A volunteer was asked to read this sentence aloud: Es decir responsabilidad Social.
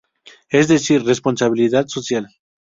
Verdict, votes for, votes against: accepted, 2, 0